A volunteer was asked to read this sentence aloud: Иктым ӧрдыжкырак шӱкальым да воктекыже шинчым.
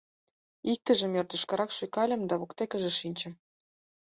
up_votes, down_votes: 2, 4